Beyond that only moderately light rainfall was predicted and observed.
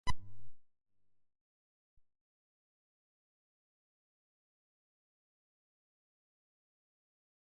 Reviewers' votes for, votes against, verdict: 0, 2, rejected